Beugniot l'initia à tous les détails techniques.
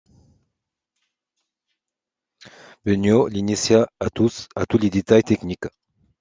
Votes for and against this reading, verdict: 0, 2, rejected